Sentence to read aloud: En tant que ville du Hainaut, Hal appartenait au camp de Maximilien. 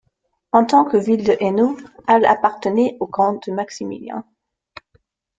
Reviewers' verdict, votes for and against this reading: rejected, 1, 2